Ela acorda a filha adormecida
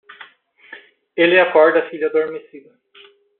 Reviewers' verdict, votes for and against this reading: rejected, 0, 2